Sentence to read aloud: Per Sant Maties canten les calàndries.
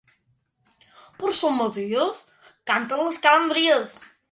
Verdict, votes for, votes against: rejected, 1, 2